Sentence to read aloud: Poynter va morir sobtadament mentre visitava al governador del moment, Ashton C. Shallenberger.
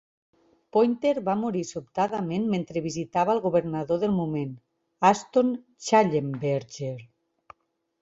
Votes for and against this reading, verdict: 0, 2, rejected